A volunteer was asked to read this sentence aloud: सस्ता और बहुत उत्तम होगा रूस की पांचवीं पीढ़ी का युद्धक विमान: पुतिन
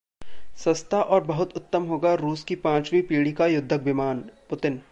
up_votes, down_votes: 2, 0